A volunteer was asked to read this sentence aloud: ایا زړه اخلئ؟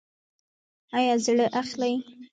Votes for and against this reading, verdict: 1, 2, rejected